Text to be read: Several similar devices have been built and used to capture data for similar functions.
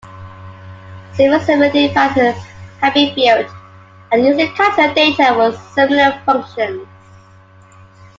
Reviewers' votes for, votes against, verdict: 2, 1, accepted